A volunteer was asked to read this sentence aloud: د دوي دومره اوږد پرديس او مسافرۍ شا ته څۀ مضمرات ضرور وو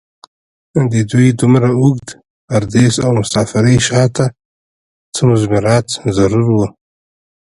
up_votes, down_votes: 0, 2